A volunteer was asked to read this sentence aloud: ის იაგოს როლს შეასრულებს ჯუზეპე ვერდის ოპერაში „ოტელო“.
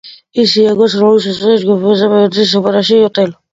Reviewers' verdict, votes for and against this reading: rejected, 0, 2